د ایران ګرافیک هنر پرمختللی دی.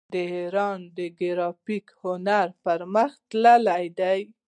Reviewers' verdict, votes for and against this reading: rejected, 0, 2